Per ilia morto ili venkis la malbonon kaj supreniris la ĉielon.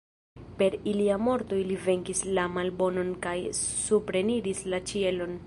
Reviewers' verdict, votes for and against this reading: accepted, 2, 0